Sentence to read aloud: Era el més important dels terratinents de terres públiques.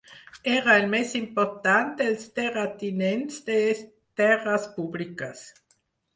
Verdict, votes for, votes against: rejected, 2, 4